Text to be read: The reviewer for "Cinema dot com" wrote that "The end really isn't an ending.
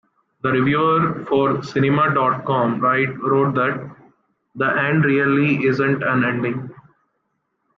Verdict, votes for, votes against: rejected, 0, 2